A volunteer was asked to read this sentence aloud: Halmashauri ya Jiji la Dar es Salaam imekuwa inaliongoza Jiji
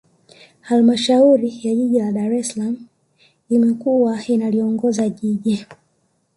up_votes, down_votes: 1, 2